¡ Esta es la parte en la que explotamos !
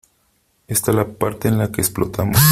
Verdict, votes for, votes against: rejected, 0, 3